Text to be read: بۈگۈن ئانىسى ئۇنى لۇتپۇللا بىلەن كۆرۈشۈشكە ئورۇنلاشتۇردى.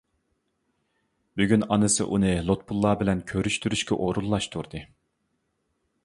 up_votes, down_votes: 1, 2